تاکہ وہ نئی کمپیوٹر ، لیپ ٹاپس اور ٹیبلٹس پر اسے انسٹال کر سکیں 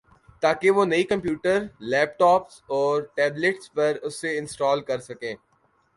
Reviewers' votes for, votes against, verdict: 2, 0, accepted